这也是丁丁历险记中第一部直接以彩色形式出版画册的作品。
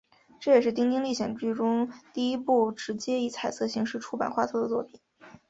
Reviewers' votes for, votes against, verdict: 5, 0, accepted